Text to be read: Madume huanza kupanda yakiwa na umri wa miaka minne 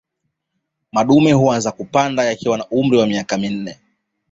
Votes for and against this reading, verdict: 2, 1, accepted